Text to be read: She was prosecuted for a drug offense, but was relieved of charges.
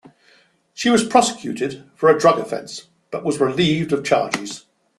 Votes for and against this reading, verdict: 2, 0, accepted